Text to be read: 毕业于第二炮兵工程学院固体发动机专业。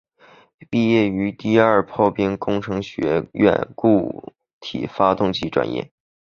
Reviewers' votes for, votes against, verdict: 2, 2, rejected